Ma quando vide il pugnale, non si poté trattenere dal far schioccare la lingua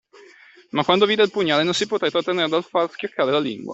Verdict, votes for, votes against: accepted, 2, 1